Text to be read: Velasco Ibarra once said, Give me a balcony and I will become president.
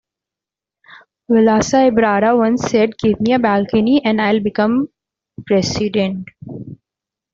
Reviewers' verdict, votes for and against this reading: rejected, 0, 2